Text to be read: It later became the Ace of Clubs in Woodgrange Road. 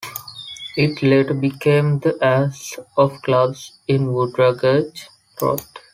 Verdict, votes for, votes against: accepted, 2, 1